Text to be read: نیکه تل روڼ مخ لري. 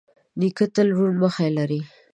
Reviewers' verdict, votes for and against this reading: rejected, 1, 2